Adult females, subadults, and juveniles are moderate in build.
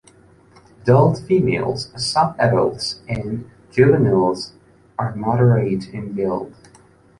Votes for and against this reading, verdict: 1, 2, rejected